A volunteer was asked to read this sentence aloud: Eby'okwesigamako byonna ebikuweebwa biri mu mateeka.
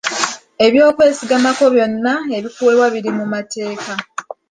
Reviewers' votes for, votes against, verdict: 2, 1, accepted